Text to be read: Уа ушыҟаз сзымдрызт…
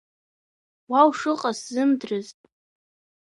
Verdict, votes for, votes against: accepted, 3, 2